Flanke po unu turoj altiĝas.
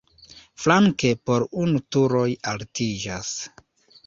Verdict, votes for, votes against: rejected, 1, 2